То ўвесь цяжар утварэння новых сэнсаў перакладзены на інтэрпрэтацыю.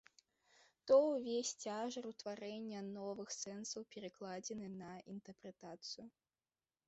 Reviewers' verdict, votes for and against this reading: accepted, 2, 0